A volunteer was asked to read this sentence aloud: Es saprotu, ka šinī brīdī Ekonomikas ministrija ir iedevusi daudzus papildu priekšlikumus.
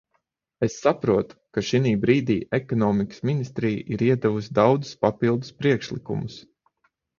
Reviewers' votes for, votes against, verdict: 3, 6, rejected